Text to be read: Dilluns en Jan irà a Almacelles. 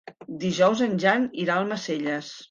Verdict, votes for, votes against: rejected, 1, 2